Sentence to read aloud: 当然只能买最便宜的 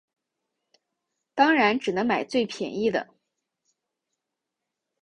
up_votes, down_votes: 2, 0